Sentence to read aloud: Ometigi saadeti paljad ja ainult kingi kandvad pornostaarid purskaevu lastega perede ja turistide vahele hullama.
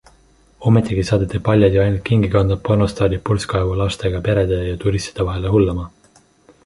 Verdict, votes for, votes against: accepted, 2, 0